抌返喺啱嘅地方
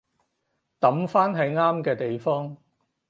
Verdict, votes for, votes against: accepted, 4, 0